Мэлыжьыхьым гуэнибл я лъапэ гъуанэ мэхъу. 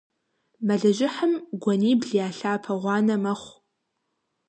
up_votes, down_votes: 2, 0